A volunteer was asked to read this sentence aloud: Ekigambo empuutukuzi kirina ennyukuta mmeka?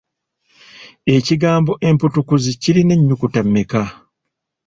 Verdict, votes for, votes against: accepted, 2, 0